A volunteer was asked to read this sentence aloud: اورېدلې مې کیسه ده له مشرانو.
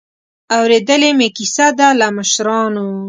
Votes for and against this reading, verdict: 2, 0, accepted